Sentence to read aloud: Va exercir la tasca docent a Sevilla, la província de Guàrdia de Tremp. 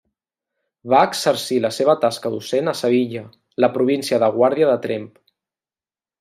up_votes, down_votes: 1, 2